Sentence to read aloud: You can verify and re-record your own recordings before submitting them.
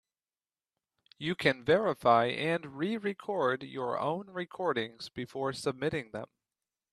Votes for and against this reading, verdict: 3, 0, accepted